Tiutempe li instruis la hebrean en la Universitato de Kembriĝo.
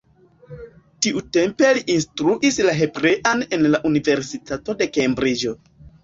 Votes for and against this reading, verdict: 2, 0, accepted